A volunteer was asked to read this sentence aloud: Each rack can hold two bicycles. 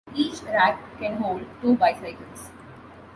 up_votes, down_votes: 2, 0